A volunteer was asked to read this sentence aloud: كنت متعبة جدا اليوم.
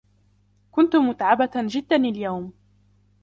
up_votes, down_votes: 2, 0